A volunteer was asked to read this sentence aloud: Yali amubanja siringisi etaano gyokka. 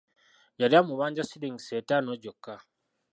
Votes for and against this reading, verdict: 1, 2, rejected